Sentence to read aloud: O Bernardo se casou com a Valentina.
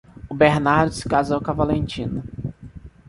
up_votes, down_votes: 2, 0